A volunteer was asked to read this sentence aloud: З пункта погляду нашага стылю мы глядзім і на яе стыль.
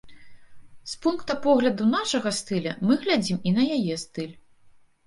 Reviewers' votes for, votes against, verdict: 1, 2, rejected